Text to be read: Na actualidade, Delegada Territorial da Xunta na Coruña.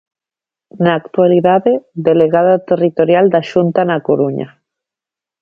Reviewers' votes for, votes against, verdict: 3, 0, accepted